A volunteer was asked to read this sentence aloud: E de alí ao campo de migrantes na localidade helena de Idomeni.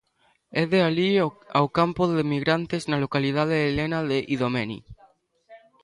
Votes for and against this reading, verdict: 1, 2, rejected